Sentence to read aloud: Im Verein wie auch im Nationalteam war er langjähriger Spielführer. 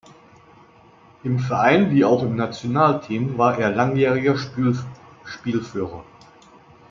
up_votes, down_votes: 0, 2